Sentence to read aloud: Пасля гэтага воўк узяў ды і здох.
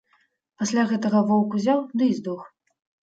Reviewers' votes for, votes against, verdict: 3, 0, accepted